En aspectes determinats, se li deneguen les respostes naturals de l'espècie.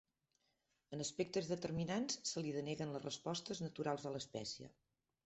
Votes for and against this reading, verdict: 2, 0, accepted